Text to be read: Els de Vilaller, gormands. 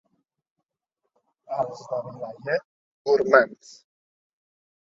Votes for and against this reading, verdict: 0, 2, rejected